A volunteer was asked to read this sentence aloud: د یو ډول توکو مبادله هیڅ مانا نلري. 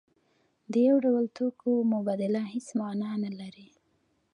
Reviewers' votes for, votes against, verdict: 2, 0, accepted